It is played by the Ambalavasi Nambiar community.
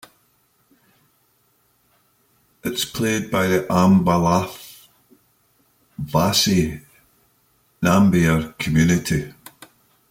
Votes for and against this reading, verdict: 0, 2, rejected